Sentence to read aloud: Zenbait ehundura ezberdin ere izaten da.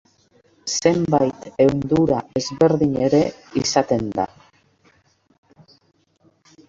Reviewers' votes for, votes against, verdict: 2, 1, accepted